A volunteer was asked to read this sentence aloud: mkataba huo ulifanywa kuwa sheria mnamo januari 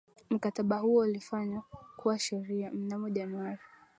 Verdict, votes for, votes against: rejected, 0, 2